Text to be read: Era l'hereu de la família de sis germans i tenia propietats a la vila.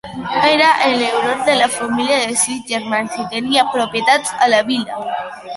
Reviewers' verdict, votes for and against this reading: rejected, 0, 2